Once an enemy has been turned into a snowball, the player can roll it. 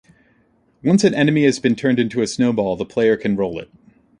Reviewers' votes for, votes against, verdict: 2, 0, accepted